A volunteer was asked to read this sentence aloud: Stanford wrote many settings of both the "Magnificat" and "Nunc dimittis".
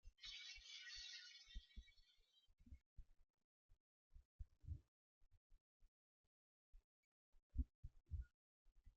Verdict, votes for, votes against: rejected, 0, 2